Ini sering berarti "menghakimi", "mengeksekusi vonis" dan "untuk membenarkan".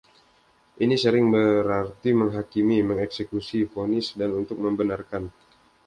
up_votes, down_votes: 2, 0